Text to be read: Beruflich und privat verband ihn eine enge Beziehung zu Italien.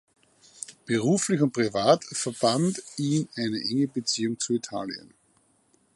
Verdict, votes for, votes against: accepted, 3, 0